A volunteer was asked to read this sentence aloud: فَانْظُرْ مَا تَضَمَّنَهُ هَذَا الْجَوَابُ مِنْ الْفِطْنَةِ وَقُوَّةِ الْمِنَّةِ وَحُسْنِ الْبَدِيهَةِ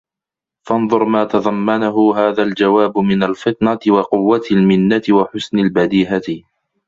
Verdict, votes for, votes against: accepted, 2, 0